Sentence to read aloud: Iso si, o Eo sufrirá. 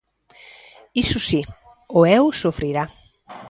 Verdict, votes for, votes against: accepted, 2, 0